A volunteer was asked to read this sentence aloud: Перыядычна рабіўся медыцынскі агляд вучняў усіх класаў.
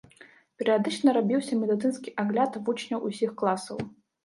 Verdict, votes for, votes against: accepted, 2, 0